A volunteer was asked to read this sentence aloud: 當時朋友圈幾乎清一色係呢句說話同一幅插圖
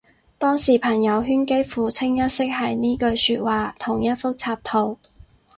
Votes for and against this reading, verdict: 4, 0, accepted